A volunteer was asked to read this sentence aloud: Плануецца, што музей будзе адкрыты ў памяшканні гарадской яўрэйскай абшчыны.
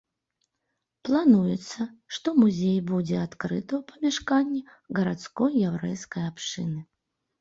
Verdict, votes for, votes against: accepted, 2, 0